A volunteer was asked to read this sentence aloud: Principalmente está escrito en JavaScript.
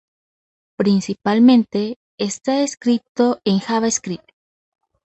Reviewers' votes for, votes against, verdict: 2, 0, accepted